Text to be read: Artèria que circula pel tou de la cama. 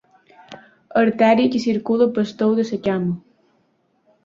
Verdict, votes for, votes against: rejected, 0, 3